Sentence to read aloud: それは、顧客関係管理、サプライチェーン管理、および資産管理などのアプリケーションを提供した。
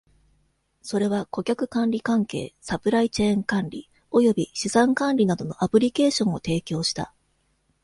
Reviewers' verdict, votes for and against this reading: accepted, 2, 1